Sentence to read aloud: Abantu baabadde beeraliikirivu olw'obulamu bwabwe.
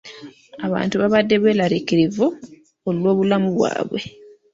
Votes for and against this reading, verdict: 1, 2, rejected